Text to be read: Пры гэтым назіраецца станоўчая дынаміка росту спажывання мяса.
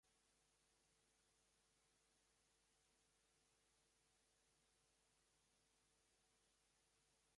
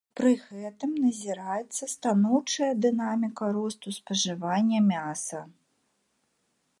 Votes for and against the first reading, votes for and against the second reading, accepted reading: 1, 3, 3, 0, second